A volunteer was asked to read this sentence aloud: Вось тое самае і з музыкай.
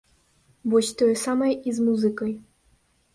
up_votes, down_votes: 2, 0